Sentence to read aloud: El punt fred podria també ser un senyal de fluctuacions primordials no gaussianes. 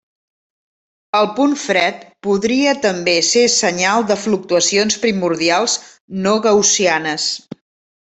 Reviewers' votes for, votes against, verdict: 0, 2, rejected